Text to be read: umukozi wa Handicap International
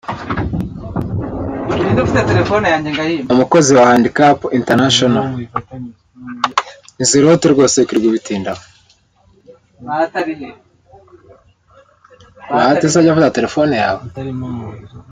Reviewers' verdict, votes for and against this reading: rejected, 0, 3